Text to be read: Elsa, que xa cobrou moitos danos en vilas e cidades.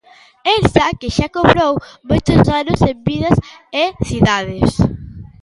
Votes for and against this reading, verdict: 1, 2, rejected